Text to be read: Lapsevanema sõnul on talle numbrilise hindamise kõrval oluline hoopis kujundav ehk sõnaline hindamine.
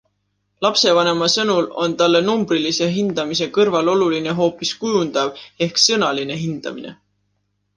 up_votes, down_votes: 2, 1